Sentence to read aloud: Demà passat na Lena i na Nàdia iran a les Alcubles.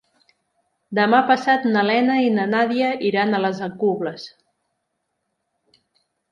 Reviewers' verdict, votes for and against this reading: accepted, 3, 1